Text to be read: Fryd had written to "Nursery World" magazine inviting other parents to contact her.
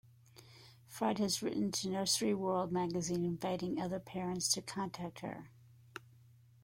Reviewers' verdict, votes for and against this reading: accepted, 2, 0